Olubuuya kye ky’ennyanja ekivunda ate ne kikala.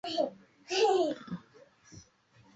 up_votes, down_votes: 0, 3